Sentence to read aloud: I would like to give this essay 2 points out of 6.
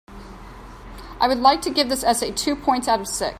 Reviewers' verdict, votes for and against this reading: rejected, 0, 2